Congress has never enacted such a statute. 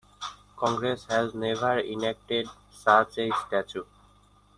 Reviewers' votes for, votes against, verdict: 0, 2, rejected